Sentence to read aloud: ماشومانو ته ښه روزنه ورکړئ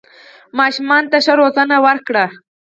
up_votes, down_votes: 0, 4